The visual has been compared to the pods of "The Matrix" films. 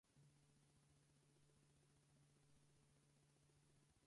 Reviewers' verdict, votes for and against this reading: rejected, 0, 4